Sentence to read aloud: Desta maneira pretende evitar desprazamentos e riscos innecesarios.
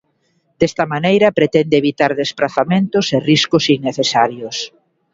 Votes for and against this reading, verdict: 3, 0, accepted